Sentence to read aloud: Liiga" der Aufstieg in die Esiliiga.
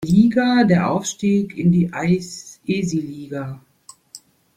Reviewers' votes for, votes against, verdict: 0, 2, rejected